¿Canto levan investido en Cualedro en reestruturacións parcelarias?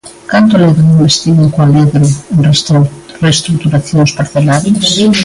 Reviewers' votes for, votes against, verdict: 0, 2, rejected